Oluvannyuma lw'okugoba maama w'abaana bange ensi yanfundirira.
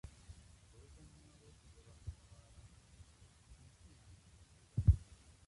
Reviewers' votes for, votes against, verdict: 0, 2, rejected